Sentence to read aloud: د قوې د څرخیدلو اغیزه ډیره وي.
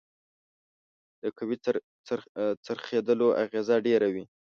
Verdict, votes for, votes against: rejected, 1, 2